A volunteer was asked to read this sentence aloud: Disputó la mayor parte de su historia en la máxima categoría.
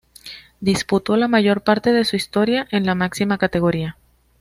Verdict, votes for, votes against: accepted, 2, 0